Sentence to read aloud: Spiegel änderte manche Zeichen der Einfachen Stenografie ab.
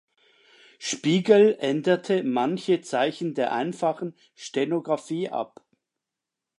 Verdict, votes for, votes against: accepted, 2, 0